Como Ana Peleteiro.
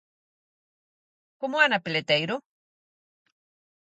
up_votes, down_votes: 4, 0